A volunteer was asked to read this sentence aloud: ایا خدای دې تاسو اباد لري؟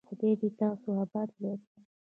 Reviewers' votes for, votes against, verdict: 1, 2, rejected